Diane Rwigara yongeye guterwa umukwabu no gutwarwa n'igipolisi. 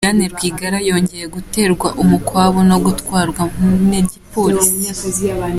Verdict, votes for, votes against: accepted, 2, 0